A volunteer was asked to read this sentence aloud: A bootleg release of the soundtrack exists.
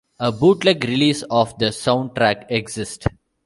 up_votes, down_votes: 0, 2